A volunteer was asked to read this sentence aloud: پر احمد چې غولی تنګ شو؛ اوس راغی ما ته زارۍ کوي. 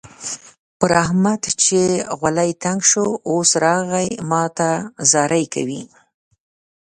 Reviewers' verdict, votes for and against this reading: rejected, 1, 2